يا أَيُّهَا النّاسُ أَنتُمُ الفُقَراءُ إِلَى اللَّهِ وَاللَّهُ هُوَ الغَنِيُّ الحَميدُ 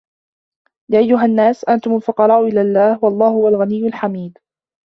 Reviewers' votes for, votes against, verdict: 1, 2, rejected